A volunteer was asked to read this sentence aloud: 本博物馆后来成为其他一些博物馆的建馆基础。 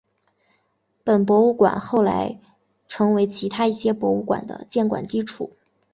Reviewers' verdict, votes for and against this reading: accepted, 2, 0